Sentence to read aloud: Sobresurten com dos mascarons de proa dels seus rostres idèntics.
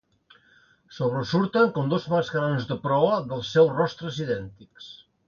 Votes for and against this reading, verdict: 2, 0, accepted